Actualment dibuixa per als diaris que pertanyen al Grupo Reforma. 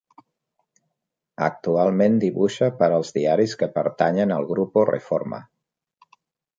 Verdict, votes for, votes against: accepted, 3, 0